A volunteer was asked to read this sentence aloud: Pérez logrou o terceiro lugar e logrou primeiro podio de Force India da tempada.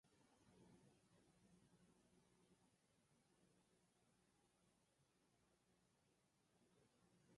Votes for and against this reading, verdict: 0, 4, rejected